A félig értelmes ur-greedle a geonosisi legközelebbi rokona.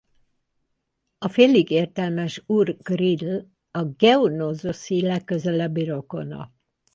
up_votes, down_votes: 0, 4